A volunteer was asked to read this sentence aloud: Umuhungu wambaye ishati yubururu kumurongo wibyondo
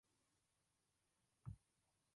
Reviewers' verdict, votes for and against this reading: rejected, 0, 2